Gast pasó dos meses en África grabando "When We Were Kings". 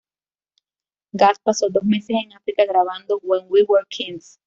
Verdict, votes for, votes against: accepted, 2, 0